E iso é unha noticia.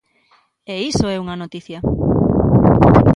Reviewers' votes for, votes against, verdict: 2, 1, accepted